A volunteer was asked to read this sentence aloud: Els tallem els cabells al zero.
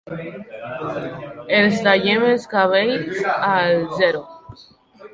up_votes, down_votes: 2, 0